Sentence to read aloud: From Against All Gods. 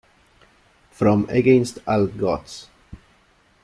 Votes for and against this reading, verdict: 0, 2, rejected